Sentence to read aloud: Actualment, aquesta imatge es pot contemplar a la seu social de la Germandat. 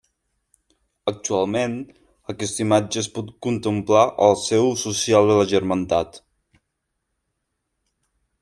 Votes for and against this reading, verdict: 1, 2, rejected